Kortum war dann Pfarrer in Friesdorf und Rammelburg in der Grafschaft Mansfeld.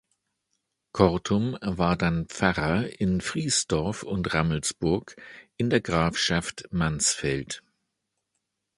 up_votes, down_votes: 1, 2